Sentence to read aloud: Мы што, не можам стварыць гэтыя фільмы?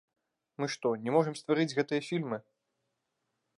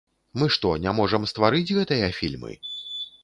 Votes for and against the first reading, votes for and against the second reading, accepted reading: 1, 2, 2, 0, second